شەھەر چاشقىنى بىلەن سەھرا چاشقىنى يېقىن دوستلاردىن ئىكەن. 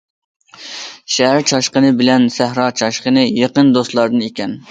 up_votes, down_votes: 2, 0